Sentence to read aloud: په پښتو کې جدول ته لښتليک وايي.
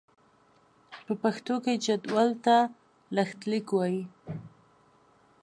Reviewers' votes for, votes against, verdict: 4, 0, accepted